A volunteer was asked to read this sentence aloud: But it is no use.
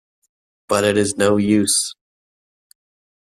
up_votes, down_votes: 2, 0